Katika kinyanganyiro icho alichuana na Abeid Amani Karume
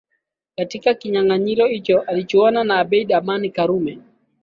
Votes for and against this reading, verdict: 6, 1, accepted